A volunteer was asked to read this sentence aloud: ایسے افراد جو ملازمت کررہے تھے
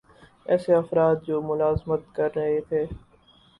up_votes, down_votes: 0, 2